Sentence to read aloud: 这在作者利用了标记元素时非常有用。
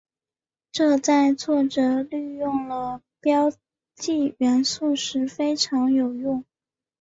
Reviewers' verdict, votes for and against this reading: accepted, 5, 0